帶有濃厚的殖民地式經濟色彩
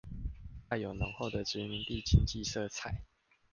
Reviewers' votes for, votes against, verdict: 1, 2, rejected